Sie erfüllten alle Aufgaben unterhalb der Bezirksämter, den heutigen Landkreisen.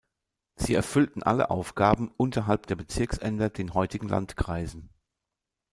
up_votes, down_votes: 1, 2